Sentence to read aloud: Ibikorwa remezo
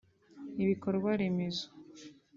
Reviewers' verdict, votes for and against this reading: accepted, 2, 0